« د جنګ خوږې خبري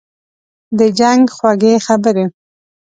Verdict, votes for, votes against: accepted, 2, 0